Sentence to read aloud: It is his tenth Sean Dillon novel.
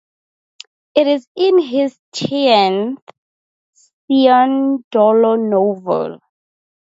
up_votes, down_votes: 0, 4